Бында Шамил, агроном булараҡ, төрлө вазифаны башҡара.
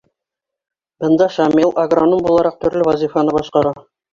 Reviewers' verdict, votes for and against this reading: accepted, 3, 0